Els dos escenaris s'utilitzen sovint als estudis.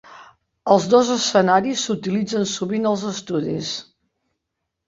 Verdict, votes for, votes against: accepted, 4, 0